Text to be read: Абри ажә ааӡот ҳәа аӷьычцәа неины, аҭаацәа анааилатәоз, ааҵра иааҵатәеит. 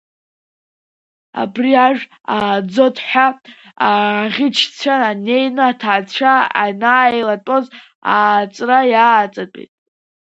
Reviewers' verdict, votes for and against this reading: rejected, 1, 2